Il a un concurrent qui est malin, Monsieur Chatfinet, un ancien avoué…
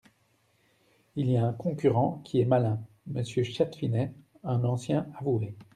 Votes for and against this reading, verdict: 0, 2, rejected